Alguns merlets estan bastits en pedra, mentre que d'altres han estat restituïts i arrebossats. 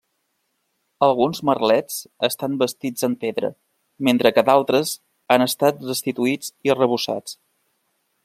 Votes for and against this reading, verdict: 2, 0, accepted